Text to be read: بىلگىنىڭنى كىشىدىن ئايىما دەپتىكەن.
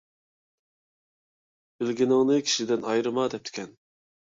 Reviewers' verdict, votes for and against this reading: rejected, 1, 2